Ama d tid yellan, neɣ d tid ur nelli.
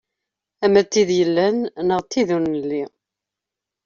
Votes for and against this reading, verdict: 2, 0, accepted